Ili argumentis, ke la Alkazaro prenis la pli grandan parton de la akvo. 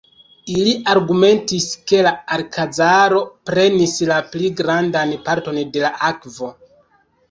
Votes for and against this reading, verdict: 1, 2, rejected